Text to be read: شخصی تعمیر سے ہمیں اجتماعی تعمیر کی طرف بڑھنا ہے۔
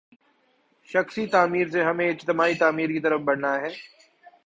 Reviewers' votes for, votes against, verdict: 2, 0, accepted